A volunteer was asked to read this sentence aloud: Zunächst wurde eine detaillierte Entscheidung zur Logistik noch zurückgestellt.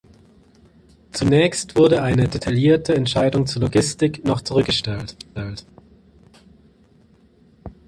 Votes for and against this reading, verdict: 0, 2, rejected